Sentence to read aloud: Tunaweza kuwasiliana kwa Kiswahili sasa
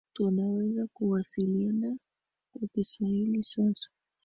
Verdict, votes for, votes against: accepted, 2, 0